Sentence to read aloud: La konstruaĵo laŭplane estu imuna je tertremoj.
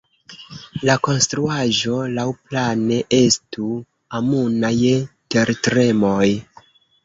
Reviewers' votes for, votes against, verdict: 0, 2, rejected